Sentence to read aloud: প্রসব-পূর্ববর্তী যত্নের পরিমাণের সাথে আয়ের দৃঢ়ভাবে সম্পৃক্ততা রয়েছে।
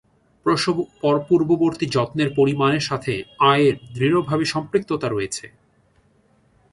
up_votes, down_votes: 0, 2